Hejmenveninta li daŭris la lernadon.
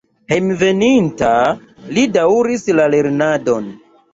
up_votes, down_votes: 2, 1